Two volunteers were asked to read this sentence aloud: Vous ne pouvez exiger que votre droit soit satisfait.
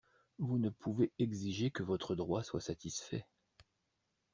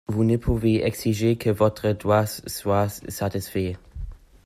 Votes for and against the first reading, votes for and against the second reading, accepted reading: 2, 0, 1, 2, first